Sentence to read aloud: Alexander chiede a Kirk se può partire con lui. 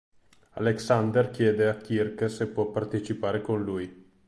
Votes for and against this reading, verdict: 2, 3, rejected